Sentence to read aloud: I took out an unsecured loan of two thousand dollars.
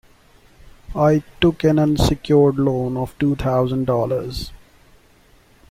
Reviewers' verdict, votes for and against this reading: rejected, 0, 2